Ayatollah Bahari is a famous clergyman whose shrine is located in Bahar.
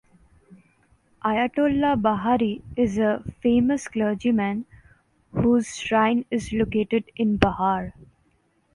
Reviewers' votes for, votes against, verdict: 2, 0, accepted